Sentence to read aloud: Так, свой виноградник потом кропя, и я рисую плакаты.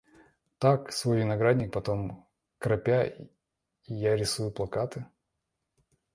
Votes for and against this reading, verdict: 0, 2, rejected